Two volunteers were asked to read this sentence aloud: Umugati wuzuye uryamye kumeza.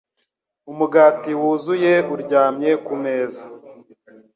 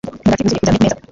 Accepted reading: first